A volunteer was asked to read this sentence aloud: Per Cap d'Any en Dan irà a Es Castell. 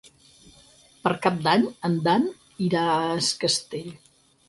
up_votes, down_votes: 6, 2